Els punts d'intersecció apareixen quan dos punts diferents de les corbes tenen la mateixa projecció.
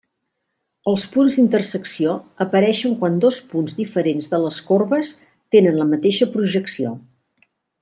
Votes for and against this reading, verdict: 3, 0, accepted